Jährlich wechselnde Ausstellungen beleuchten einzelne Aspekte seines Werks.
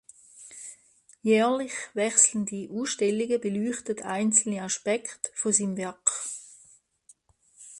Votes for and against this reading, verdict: 0, 2, rejected